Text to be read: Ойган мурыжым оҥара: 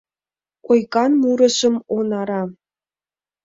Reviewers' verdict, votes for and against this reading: rejected, 1, 2